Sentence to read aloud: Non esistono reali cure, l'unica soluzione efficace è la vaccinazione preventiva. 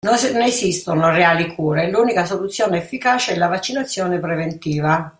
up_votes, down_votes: 1, 2